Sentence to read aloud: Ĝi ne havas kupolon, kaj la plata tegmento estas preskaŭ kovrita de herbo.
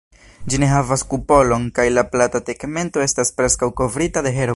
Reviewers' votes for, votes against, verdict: 0, 2, rejected